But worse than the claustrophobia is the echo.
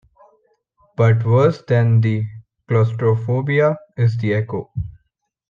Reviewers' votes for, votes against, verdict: 2, 0, accepted